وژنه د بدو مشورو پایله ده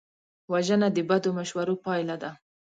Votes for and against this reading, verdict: 2, 0, accepted